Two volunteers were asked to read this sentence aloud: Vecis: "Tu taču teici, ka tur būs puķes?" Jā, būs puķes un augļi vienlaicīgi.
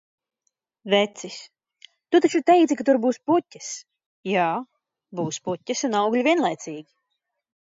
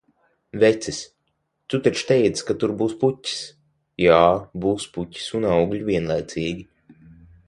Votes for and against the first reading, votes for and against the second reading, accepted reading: 4, 0, 0, 3, first